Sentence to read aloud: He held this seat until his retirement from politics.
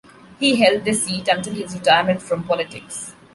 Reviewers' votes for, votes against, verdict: 2, 0, accepted